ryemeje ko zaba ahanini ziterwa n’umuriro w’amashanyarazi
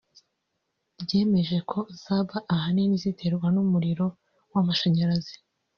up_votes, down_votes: 1, 2